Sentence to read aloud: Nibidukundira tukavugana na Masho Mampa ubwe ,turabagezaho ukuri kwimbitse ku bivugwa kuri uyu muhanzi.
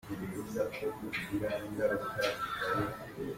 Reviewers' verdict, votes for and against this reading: rejected, 0, 2